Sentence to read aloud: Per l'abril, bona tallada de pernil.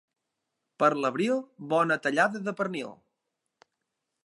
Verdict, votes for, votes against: accepted, 3, 0